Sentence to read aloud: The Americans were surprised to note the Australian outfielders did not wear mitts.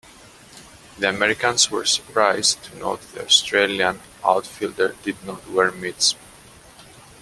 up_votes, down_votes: 0, 2